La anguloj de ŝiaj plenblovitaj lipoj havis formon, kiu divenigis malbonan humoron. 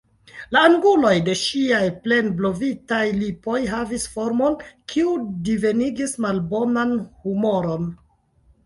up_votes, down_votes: 1, 2